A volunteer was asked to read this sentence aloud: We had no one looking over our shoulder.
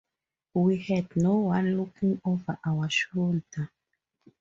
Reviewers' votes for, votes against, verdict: 4, 0, accepted